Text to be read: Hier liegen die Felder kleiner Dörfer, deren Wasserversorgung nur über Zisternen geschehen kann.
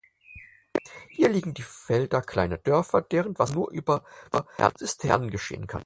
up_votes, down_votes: 0, 4